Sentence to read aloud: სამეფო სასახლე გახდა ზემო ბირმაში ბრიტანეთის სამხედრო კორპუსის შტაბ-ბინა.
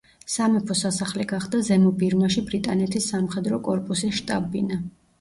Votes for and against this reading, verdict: 0, 2, rejected